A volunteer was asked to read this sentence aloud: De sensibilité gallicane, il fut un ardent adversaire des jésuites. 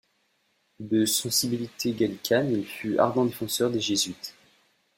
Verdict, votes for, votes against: rejected, 1, 2